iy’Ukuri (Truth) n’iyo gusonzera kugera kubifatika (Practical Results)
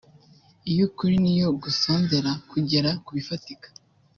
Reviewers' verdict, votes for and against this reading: rejected, 0, 2